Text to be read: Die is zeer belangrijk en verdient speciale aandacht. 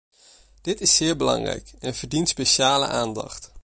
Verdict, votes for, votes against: rejected, 1, 2